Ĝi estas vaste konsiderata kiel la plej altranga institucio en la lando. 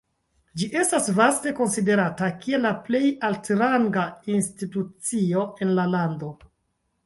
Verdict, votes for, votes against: rejected, 0, 2